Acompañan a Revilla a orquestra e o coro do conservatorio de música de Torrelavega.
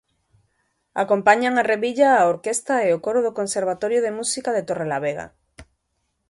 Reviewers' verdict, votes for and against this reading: rejected, 1, 2